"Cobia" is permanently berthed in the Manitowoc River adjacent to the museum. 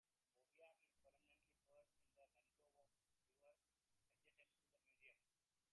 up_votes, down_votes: 0, 2